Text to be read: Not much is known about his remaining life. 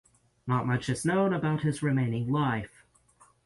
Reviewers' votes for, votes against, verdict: 6, 0, accepted